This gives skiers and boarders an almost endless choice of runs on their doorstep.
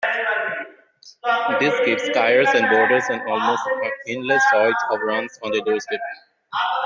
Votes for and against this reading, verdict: 2, 0, accepted